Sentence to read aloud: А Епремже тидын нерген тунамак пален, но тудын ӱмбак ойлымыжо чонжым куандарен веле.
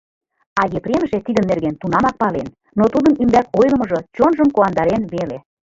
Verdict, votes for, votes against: accepted, 2, 0